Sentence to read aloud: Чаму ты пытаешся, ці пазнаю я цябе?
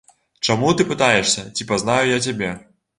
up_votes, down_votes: 2, 0